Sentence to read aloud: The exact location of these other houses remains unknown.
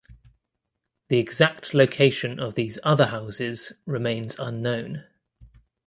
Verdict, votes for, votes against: accepted, 2, 0